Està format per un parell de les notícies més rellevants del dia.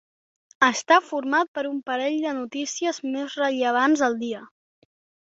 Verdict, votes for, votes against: rejected, 1, 2